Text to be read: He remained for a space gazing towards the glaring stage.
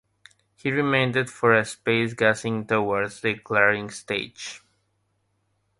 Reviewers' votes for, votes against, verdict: 0, 3, rejected